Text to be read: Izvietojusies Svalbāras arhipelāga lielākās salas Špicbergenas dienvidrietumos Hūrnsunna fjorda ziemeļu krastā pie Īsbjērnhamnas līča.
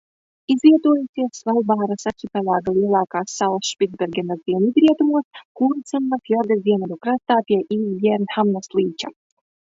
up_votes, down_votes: 1, 2